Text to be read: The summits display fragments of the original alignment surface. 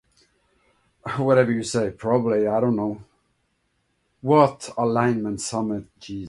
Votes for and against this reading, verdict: 0, 2, rejected